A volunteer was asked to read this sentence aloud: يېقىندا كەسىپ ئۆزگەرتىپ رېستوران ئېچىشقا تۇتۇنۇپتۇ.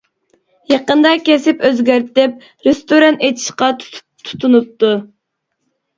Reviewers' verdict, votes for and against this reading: rejected, 1, 2